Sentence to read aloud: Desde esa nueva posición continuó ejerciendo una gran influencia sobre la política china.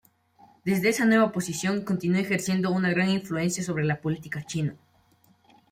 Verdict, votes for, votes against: accepted, 3, 1